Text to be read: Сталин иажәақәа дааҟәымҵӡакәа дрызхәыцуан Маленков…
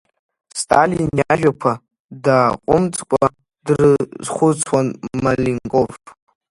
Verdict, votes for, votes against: rejected, 0, 2